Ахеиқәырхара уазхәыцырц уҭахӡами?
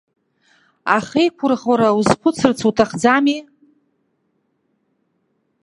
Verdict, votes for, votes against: rejected, 0, 2